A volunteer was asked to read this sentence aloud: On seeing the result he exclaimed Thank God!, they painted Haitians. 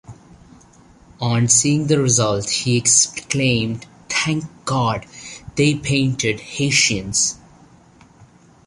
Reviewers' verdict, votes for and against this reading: accepted, 2, 0